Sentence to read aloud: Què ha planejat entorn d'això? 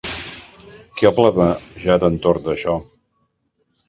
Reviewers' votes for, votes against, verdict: 0, 2, rejected